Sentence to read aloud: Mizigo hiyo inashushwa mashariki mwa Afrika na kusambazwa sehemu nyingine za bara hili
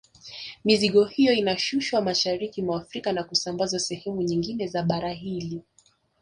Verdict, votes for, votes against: accepted, 3, 0